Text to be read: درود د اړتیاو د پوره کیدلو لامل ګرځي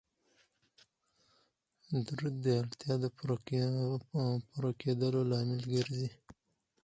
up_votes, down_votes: 0, 4